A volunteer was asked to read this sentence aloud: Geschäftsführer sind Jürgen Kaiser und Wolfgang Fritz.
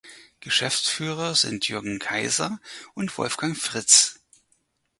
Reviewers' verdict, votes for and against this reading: accepted, 4, 0